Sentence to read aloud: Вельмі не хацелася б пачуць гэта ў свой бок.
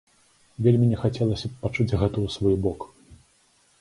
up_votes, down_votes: 3, 0